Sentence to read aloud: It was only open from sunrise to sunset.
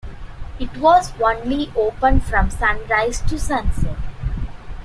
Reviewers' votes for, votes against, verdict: 2, 1, accepted